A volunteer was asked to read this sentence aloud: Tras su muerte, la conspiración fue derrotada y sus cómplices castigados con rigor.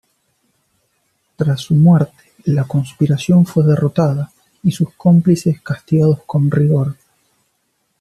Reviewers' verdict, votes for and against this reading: accepted, 2, 0